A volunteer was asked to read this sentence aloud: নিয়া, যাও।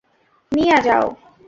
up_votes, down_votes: 2, 0